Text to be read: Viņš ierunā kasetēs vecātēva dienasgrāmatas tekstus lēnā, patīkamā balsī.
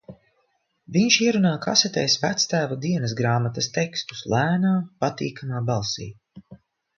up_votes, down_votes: 1, 2